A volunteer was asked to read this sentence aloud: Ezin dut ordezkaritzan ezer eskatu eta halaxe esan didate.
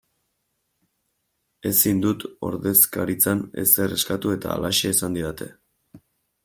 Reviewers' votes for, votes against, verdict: 2, 0, accepted